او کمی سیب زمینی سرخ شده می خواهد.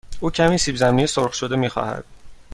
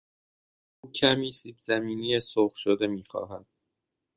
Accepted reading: first